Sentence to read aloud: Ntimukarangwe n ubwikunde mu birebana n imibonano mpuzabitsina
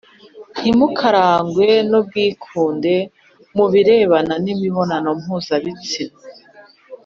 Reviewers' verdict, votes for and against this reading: accepted, 3, 0